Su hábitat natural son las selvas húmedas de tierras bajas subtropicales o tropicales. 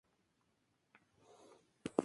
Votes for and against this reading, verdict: 0, 2, rejected